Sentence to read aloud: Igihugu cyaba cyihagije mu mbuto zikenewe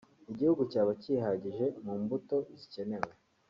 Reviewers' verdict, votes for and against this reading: rejected, 0, 2